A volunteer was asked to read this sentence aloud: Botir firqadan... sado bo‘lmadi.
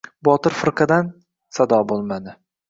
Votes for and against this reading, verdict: 2, 0, accepted